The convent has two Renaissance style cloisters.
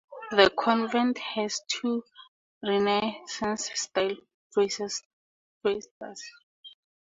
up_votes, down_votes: 2, 0